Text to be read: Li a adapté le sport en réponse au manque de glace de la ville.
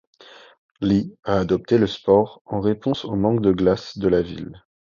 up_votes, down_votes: 1, 2